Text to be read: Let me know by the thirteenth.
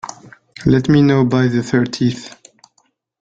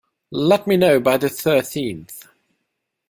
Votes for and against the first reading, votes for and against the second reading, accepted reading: 1, 2, 2, 0, second